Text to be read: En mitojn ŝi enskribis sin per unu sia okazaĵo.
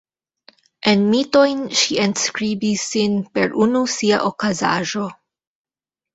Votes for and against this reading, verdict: 2, 0, accepted